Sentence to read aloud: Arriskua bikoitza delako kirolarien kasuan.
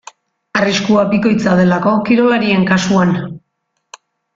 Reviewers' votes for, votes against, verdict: 2, 0, accepted